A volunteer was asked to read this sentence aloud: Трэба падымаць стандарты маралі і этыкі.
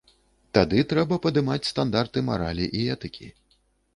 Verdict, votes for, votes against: rejected, 1, 2